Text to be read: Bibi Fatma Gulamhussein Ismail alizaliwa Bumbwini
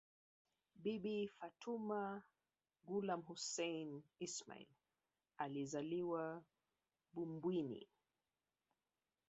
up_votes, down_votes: 1, 2